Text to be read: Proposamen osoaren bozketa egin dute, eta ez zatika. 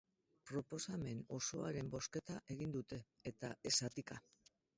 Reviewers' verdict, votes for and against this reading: rejected, 0, 2